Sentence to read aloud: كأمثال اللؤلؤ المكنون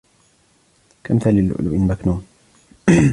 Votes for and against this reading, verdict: 2, 1, accepted